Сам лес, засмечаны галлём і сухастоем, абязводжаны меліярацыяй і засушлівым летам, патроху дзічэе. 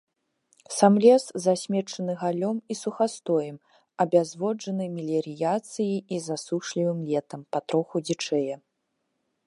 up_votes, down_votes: 0, 2